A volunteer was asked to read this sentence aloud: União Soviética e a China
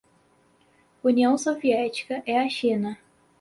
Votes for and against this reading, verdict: 2, 2, rejected